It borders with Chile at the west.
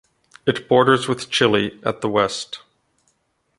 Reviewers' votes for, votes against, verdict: 1, 2, rejected